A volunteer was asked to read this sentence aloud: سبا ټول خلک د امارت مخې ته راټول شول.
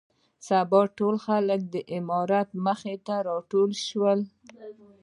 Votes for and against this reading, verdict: 0, 2, rejected